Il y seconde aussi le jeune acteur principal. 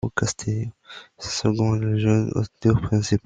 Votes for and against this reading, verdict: 0, 2, rejected